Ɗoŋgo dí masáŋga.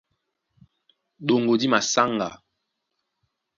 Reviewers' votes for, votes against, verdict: 2, 0, accepted